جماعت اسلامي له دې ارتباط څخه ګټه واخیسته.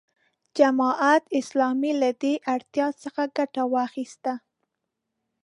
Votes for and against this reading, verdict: 1, 2, rejected